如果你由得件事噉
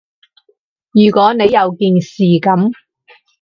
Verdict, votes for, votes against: rejected, 2, 2